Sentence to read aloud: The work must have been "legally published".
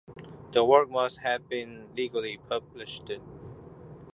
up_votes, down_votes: 0, 2